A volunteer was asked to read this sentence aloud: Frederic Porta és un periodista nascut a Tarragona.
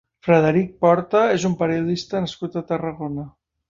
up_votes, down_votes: 5, 0